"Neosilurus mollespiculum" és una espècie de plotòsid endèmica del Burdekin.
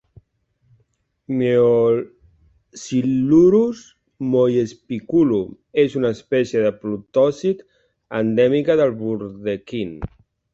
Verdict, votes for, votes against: rejected, 1, 2